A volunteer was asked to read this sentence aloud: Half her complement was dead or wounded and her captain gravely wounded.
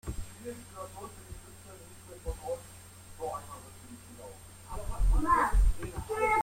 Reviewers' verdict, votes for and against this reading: rejected, 0, 2